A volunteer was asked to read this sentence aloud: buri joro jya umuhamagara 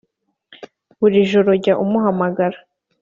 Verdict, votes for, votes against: accepted, 2, 0